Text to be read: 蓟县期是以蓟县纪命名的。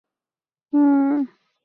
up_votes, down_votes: 3, 2